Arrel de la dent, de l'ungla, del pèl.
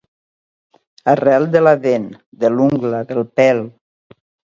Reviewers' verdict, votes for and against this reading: accepted, 2, 0